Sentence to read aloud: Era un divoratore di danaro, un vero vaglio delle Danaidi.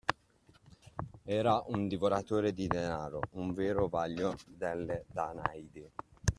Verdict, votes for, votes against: accepted, 2, 0